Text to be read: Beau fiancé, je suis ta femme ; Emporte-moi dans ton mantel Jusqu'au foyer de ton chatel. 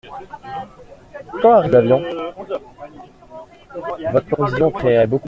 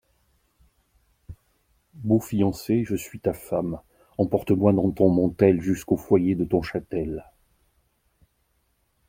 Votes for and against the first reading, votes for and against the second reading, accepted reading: 0, 2, 2, 0, second